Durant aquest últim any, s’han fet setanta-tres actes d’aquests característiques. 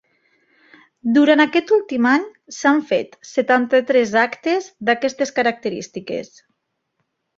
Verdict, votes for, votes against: rejected, 0, 2